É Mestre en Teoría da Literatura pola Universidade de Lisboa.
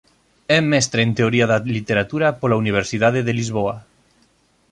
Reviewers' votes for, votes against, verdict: 3, 0, accepted